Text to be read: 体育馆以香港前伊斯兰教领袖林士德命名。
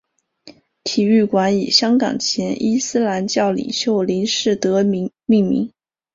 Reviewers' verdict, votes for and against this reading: rejected, 1, 2